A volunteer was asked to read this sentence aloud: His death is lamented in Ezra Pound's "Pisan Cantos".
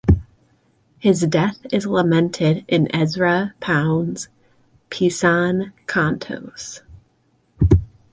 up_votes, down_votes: 2, 0